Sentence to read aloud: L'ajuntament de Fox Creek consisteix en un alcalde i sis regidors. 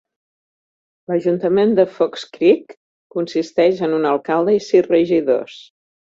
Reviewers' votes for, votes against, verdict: 2, 0, accepted